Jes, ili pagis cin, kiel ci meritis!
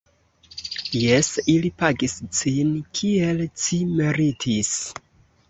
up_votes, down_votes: 2, 0